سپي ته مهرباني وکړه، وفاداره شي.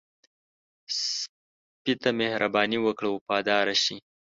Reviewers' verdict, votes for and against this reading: rejected, 1, 2